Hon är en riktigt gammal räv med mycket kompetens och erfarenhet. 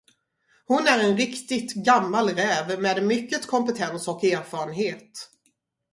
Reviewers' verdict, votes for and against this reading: rejected, 0, 2